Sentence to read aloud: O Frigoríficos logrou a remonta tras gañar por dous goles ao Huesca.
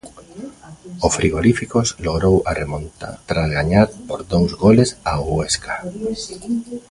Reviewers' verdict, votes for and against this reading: rejected, 0, 2